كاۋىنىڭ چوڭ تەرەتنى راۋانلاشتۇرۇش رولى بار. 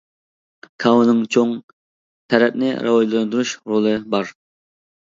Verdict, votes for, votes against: rejected, 0, 2